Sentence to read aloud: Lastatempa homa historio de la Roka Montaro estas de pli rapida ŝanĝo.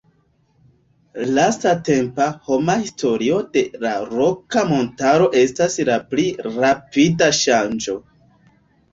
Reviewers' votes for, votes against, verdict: 1, 2, rejected